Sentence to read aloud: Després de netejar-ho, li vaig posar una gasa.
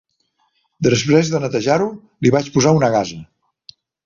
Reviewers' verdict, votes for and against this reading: accepted, 3, 0